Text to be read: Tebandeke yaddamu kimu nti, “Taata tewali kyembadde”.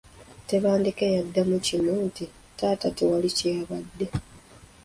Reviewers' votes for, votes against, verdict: 2, 1, accepted